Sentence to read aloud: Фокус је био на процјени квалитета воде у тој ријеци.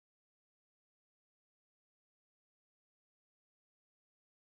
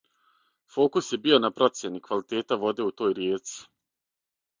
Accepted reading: second